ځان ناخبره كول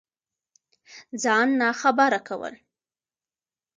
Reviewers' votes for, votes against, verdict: 2, 0, accepted